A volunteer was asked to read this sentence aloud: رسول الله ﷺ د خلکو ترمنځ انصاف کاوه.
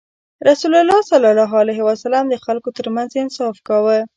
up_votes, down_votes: 0, 2